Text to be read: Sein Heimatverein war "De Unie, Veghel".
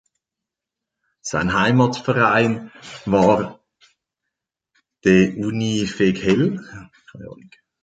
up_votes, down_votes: 0, 2